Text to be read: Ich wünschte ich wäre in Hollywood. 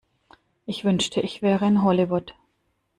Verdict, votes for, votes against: accepted, 2, 0